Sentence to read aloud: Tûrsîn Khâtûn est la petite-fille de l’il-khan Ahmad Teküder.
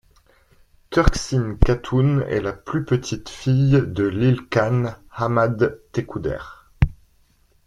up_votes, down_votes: 0, 2